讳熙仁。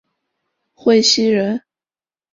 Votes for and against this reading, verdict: 2, 1, accepted